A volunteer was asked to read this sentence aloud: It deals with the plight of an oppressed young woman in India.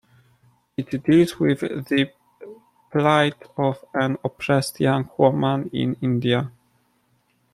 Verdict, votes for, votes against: rejected, 0, 2